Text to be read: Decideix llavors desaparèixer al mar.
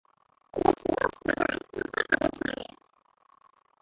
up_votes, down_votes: 0, 3